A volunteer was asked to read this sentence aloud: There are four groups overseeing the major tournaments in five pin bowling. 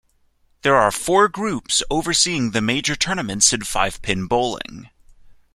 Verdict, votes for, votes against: accepted, 2, 0